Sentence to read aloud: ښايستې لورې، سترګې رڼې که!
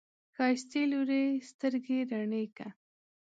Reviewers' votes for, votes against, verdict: 2, 0, accepted